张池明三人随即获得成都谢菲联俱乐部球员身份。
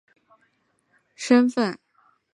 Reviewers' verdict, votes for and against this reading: rejected, 0, 2